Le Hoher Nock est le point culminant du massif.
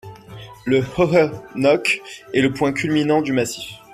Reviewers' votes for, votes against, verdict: 1, 2, rejected